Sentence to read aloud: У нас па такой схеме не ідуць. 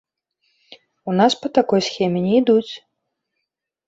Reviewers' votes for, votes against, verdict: 2, 0, accepted